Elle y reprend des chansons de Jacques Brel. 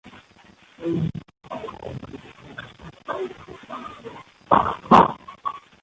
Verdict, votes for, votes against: rejected, 0, 2